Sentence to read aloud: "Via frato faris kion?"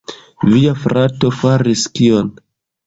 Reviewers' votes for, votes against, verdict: 0, 2, rejected